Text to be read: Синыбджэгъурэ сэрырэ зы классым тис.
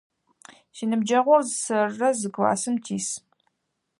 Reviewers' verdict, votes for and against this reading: rejected, 2, 4